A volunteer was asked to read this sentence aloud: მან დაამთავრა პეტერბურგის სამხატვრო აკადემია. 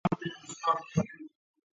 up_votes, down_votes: 0, 2